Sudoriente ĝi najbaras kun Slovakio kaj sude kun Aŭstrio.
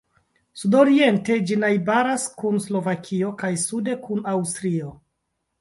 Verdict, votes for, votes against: accepted, 2, 1